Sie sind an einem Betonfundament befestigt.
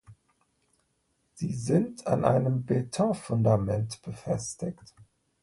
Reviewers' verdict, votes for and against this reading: accepted, 2, 0